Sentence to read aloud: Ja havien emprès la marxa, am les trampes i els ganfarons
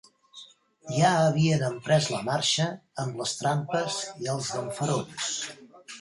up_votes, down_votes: 1, 2